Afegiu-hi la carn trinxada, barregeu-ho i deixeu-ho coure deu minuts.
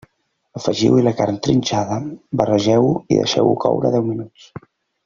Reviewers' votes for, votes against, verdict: 3, 0, accepted